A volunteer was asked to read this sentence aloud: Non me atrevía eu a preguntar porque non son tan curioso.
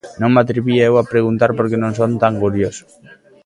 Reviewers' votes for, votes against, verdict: 1, 2, rejected